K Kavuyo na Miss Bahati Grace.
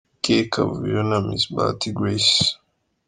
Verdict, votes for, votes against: accepted, 2, 0